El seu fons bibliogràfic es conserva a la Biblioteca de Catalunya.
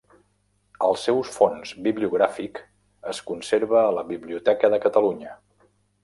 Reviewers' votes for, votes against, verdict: 0, 2, rejected